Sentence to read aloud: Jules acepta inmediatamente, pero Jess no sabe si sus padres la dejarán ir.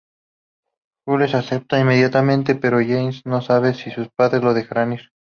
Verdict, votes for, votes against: accepted, 4, 0